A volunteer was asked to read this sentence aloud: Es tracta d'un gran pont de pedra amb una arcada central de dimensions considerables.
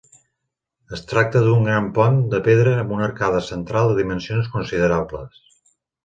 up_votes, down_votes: 3, 0